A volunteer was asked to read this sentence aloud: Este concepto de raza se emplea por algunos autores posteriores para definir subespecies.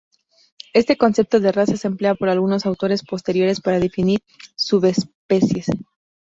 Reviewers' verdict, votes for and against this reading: accepted, 2, 0